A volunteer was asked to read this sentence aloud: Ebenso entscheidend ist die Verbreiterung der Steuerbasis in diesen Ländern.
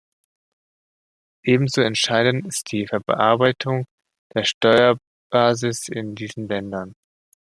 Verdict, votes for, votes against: rejected, 0, 2